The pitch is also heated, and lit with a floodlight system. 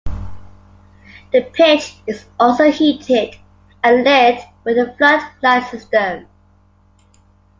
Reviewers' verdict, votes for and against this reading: rejected, 1, 2